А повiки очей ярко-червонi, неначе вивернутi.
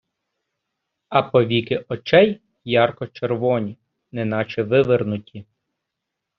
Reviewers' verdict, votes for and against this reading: accepted, 2, 0